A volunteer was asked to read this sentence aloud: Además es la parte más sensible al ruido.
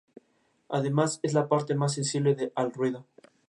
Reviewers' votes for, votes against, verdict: 0, 2, rejected